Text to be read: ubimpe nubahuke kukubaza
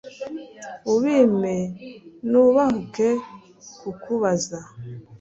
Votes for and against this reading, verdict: 2, 0, accepted